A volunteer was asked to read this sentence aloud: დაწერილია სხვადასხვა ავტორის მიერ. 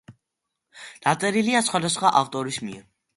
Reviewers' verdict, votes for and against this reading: accepted, 2, 0